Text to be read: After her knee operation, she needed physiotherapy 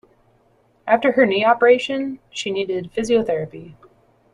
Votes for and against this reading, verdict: 2, 0, accepted